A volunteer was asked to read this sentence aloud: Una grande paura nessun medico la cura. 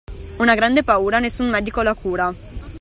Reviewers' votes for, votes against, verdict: 2, 0, accepted